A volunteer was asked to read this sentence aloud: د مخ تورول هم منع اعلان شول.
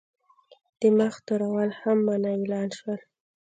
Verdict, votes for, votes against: rejected, 1, 2